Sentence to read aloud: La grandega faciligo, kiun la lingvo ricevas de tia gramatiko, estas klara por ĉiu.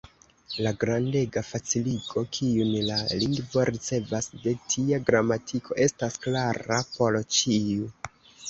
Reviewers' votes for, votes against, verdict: 1, 3, rejected